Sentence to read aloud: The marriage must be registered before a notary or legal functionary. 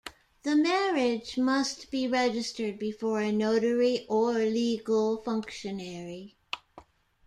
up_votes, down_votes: 2, 0